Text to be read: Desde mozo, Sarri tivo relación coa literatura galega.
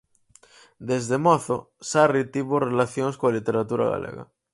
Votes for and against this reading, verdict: 0, 4, rejected